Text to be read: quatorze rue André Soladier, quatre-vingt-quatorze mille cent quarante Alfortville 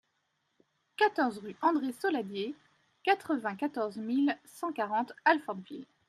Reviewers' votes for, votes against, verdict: 2, 0, accepted